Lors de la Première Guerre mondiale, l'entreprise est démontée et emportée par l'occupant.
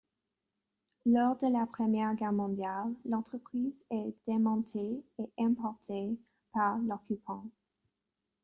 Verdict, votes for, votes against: rejected, 0, 2